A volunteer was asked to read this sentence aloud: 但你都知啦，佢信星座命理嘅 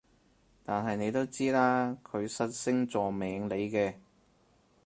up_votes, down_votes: 0, 4